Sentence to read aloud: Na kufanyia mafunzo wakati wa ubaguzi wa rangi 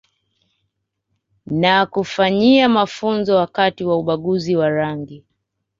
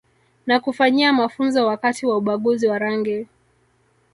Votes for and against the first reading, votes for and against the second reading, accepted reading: 2, 0, 1, 2, first